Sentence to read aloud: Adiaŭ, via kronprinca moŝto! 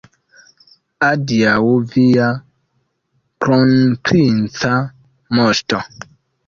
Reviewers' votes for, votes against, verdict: 1, 2, rejected